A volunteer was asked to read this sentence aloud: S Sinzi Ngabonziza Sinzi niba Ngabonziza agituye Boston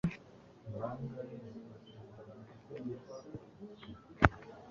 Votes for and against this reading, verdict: 0, 2, rejected